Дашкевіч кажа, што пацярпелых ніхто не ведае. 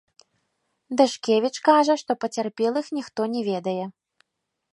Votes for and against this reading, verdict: 2, 0, accepted